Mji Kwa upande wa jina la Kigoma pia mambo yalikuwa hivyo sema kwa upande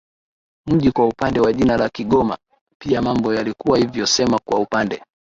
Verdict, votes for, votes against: rejected, 0, 2